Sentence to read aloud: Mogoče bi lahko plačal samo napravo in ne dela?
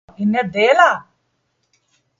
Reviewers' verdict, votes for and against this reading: rejected, 0, 2